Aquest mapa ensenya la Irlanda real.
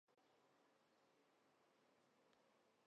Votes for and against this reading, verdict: 1, 2, rejected